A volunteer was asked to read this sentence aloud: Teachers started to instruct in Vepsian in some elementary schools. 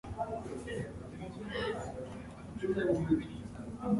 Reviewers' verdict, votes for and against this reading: rejected, 0, 2